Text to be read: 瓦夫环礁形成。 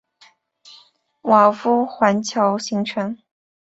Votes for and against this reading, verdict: 3, 0, accepted